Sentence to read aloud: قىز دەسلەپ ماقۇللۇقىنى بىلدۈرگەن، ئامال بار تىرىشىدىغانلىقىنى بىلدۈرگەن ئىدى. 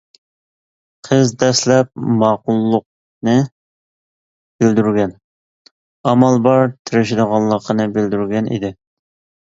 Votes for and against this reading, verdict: 2, 0, accepted